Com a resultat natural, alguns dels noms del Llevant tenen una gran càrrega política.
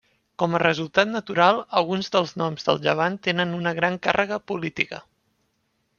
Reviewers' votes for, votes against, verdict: 3, 0, accepted